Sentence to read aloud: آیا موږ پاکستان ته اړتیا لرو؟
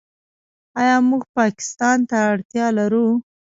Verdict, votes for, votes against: rejected, 1, 2